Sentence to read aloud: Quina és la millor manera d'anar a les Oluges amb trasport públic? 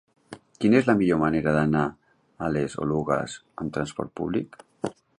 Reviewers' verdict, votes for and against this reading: accepted, 2, 0